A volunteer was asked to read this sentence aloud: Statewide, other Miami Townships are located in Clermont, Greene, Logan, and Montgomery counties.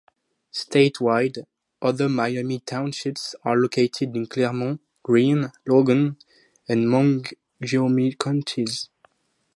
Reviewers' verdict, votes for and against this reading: rejected, 0, 4